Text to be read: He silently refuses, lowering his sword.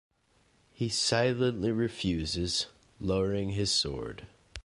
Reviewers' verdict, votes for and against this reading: accepted, 2, 0